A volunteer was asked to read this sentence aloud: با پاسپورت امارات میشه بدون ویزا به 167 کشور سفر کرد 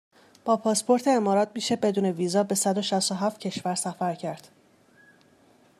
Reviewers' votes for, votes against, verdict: 0, 2, rejected